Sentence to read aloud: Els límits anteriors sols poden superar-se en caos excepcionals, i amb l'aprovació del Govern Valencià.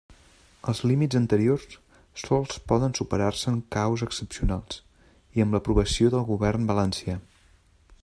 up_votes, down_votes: 2, 0